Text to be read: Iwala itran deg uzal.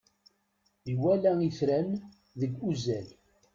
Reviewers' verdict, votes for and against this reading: rejected, 1, 2